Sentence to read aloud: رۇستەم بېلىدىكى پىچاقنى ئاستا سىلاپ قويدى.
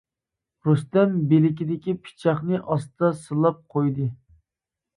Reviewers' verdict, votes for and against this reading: rejected, 0, 2